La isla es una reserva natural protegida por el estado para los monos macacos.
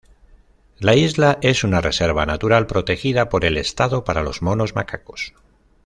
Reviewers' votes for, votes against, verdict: 2, 0, accepted